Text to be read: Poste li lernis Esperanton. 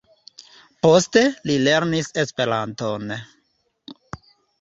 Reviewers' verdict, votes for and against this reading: rejected, 1, 2